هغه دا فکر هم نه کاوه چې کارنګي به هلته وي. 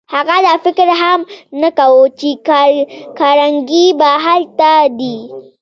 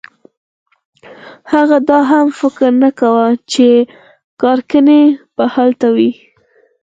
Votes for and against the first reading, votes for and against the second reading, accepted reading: 0, 2, 4, 2, second